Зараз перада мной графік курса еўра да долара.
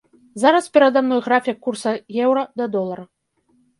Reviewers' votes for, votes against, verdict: 0, 2, rejected